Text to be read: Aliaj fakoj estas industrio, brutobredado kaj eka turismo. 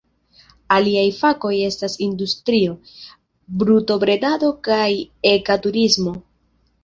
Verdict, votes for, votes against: rejected, 1, 2